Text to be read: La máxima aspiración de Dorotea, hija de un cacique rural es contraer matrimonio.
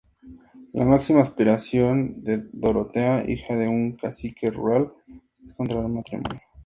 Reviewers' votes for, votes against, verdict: 2, 0, accepted